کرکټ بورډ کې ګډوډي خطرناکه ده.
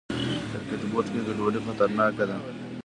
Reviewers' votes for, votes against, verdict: 0, 2, rejected